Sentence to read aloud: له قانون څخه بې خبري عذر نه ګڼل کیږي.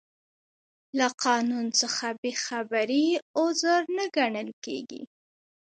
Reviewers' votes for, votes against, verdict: 3, 2, accepted